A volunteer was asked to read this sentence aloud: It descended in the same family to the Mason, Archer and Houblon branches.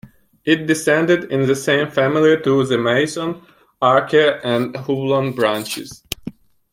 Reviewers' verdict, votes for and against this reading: rejected, 0, 2